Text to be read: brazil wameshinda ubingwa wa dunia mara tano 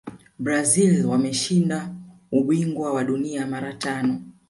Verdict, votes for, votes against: accepted, 2, 1